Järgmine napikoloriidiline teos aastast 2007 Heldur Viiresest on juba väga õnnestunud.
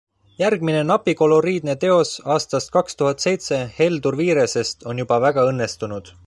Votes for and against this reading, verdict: 0, 2, rejected